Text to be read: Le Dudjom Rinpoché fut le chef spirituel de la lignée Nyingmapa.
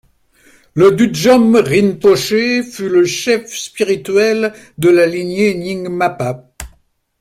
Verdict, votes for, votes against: rejected, 1, 2